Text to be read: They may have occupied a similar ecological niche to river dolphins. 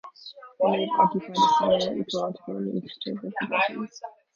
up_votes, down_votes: 0, 2